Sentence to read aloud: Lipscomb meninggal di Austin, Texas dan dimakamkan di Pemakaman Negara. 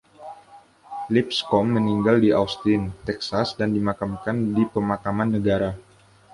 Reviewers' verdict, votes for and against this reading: accepted, 2, 0